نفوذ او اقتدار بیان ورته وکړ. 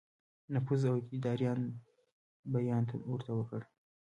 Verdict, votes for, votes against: accepted, 2, 1